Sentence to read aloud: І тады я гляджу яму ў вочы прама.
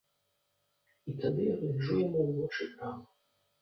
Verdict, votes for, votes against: rejected, 1, 2